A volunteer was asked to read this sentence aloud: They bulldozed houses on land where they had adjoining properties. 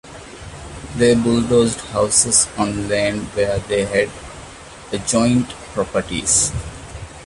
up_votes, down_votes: 0, 2